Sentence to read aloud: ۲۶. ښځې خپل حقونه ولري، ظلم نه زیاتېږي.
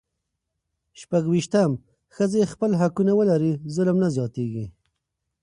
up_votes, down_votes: 0, 2